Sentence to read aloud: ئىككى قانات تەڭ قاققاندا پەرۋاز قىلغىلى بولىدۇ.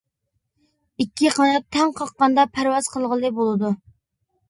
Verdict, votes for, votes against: accepted, 2, 0